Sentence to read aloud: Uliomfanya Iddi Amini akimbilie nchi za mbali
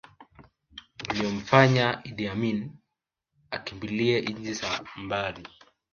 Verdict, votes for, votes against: accepted, 2, 1